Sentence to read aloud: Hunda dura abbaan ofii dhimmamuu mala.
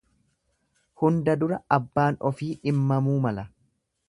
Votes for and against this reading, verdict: 2, 0, accepted